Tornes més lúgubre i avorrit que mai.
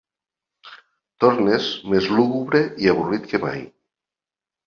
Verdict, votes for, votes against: accepted, 2, 0